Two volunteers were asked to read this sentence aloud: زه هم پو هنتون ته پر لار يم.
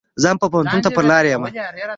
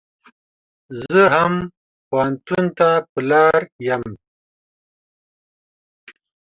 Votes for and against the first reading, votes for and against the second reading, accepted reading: 0, 2, 2, 0, second